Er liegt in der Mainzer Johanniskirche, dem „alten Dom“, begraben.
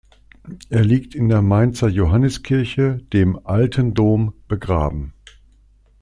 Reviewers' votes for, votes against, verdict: 2, 0, accepted